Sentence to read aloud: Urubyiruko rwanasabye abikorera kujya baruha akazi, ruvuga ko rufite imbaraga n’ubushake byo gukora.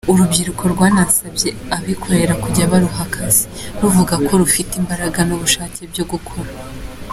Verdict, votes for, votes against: accepted, 2, 1